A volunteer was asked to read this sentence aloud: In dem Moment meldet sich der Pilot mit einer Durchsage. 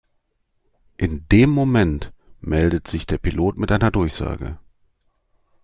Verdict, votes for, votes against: accepted, 2, 0